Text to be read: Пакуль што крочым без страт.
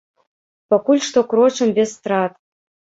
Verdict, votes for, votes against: rejected, 1, 2